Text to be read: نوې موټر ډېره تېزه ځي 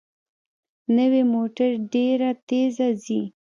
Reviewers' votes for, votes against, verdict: 3, 0, accepted